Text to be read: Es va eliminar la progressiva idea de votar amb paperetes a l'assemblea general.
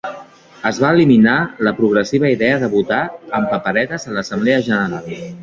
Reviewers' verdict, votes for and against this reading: accepted, 2, 1